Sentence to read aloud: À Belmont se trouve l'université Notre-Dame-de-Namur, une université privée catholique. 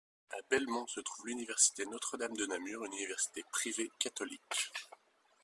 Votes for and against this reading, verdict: 2, 0, accepted